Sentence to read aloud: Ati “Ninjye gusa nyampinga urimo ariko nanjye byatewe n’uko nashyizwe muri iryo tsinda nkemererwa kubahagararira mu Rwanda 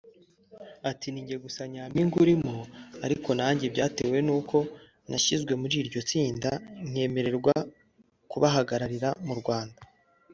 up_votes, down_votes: 1, 3